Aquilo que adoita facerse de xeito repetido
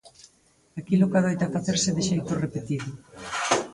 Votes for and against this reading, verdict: 2, 4, rejected